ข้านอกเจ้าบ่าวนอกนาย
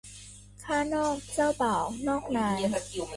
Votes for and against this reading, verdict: 0, 2, rejected